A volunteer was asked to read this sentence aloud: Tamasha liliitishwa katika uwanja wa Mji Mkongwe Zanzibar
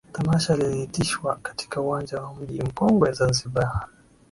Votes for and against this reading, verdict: 5, 0, accepted